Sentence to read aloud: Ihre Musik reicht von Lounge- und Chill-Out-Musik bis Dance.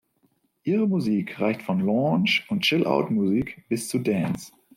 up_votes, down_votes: 0, 2